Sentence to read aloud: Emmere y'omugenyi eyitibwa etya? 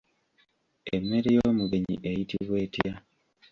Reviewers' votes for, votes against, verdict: 1, 2, rejected